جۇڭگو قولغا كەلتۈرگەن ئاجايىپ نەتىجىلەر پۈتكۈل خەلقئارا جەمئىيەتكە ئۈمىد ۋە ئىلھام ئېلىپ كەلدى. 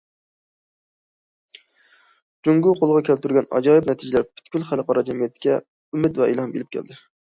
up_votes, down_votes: 2, 1